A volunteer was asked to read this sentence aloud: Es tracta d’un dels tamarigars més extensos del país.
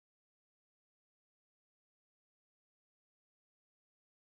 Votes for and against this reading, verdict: 0, 2, rejected